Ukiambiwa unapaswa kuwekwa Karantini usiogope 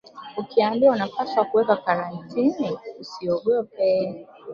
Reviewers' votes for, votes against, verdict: 2, 1, accepted